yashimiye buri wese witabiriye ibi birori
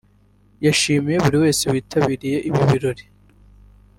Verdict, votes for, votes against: accepted, 2, 0